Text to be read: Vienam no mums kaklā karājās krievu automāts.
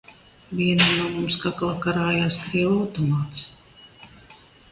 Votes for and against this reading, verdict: 2, 0, accepted